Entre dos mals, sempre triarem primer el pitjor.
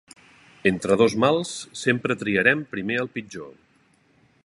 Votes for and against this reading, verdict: 3, 0, accepted